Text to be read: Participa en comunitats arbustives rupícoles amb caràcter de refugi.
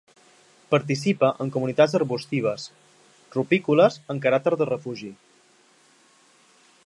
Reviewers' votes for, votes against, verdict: 2, 0, accepted